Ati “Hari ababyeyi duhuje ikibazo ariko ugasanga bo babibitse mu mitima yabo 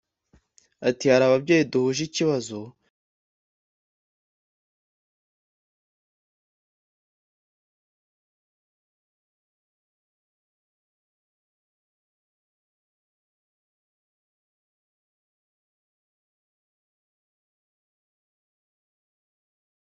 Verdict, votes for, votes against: rejected, 0, 2